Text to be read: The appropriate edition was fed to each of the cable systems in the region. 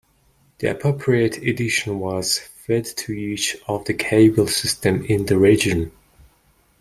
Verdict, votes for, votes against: rejected, 1, 2